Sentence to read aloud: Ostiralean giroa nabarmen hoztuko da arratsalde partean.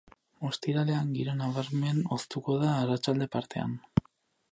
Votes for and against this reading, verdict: 2, 2, rejected